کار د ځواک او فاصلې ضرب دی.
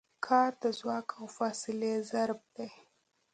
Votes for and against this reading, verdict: 2, 0, accepted